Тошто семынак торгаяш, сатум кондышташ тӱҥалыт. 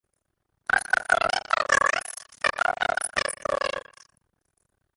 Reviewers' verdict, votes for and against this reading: rejected, 0, 2